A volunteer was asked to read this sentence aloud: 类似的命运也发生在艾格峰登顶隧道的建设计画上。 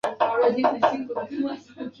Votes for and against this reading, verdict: 0, 3, rejected